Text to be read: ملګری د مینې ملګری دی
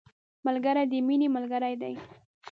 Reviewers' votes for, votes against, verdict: 2, 0, accepted